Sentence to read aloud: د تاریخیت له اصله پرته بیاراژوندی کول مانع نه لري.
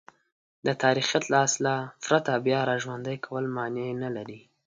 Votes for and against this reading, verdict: 2, 0, accepted